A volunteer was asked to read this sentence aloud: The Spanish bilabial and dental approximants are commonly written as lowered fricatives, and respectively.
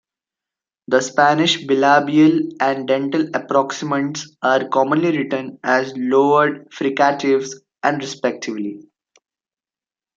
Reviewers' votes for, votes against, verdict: 2, 0, accepted